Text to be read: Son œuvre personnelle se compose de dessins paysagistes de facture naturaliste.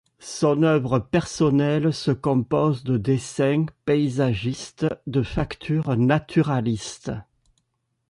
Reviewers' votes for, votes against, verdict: 2, 1, accepted